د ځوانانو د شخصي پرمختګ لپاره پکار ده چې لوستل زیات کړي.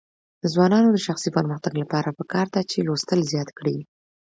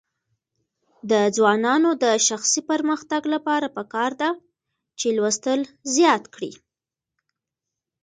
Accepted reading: first